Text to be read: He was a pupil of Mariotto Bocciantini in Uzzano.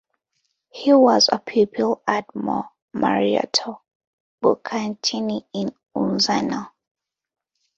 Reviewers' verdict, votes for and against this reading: rejected, 0, 2